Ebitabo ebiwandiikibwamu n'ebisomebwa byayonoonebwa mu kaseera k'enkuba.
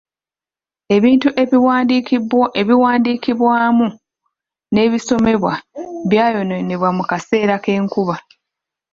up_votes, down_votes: 1, 2